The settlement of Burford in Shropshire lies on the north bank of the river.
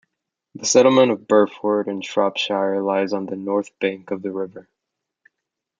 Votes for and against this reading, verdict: 1, 3, rejected